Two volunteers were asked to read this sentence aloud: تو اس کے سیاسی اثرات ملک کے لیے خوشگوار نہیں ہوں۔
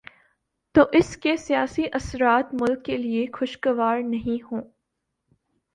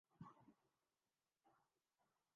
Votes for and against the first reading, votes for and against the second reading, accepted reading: 4, 1, 1, 2, first